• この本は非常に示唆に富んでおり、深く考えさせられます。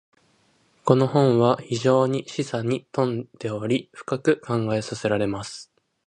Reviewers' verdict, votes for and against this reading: accepted, 2, 0